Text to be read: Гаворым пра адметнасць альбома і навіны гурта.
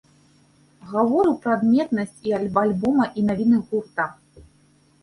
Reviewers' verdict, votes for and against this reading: rejected, 0, 3